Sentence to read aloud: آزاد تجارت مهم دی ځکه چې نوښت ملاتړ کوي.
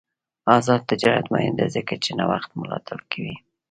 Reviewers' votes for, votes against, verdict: 2, 0, accepted